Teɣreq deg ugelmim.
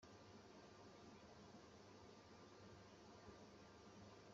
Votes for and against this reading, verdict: 1, 2, rejected